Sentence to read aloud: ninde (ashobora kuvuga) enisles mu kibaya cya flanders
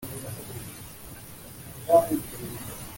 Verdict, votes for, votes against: rejected, 1, 2